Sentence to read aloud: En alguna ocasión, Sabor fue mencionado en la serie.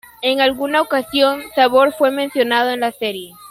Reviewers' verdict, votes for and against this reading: accepted, 2, 0